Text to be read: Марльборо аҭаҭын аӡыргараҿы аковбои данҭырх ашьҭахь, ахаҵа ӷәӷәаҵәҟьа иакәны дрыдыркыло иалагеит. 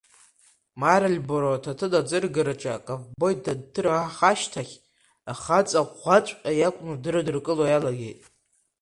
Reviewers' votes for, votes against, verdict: 1, 2, rejected